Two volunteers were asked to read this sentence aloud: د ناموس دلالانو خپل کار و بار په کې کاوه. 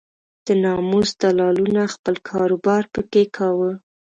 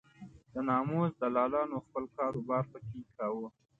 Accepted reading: second